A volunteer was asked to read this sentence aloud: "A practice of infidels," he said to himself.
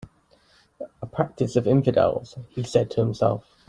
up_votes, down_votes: 3, 0